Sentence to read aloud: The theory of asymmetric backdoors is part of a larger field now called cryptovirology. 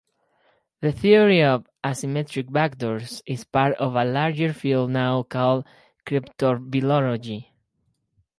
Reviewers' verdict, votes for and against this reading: rejected, 0, 4